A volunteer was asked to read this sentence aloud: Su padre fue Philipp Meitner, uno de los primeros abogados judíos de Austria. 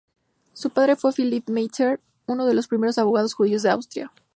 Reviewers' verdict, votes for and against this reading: accepted, 2, 0